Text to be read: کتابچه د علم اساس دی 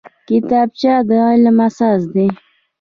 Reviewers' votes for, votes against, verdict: 2, 0, accepted